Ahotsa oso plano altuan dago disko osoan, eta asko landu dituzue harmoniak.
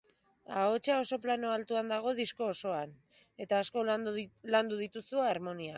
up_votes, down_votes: 2, 7